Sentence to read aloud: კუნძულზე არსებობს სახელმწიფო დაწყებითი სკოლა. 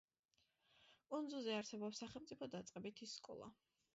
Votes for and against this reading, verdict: 2, 0, accepted